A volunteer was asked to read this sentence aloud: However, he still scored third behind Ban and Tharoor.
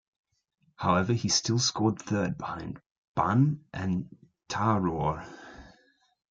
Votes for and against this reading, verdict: 0, 2, rejected